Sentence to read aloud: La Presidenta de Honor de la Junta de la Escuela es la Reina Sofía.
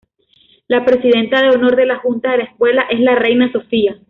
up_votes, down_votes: 2, 0